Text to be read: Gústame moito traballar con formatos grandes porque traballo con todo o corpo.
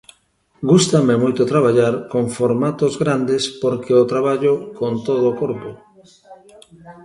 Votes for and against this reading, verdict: 1, 2, rejected